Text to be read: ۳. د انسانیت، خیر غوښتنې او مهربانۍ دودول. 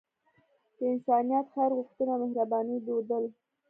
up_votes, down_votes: 0, 2